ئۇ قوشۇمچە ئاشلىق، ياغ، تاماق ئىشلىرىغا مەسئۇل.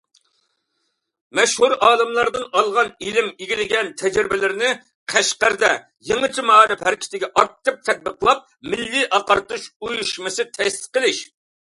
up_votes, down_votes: 0, 2